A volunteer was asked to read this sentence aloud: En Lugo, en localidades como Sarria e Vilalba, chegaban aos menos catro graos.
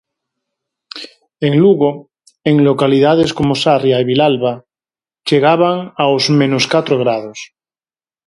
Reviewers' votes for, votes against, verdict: 2, 4, rejected